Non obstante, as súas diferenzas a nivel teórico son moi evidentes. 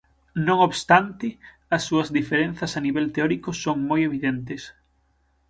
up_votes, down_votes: 6, 0